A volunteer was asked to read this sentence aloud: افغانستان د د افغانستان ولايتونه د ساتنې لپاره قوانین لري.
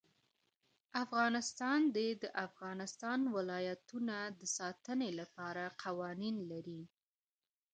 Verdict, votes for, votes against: accepted, 2, 0